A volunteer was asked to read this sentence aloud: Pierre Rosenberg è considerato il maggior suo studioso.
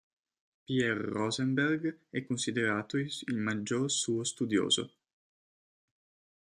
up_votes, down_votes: 1, 2